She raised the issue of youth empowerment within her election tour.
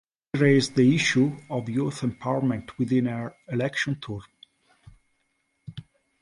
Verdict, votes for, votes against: rejected, 0, 2